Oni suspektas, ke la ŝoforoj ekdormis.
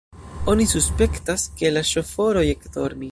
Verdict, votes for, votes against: rejected, 0, 2